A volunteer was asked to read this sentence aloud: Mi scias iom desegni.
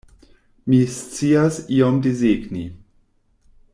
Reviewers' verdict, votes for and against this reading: rejected, 1, 2